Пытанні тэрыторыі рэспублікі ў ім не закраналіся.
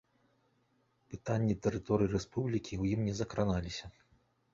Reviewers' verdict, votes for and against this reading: accepted, 2, 0